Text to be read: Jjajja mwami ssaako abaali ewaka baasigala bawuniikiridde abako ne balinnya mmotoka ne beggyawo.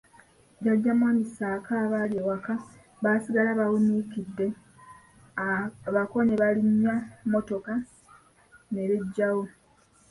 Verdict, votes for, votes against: rejected, 0, 2